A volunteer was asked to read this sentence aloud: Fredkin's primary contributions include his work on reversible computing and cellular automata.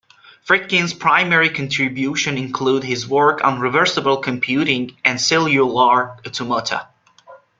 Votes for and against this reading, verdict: 0, 2, rejected